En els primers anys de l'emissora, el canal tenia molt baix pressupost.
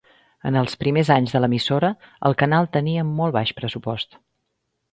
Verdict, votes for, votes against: accepted, 3, 0